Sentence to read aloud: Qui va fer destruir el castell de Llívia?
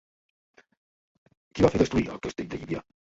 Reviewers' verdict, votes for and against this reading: rejected, 0, 2